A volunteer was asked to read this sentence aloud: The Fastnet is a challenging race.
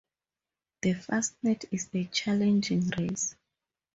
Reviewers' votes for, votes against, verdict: 2, 2, rejected